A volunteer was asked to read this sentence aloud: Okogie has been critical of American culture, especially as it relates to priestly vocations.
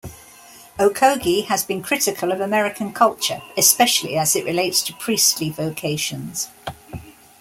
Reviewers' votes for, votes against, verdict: 2, 0, accepted